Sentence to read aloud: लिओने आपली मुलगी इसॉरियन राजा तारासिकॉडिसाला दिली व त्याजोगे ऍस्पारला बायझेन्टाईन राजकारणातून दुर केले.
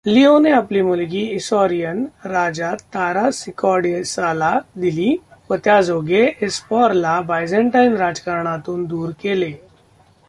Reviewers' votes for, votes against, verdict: 0, 2, rejected